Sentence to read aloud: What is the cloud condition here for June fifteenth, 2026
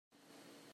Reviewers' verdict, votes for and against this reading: rejected, 0, 2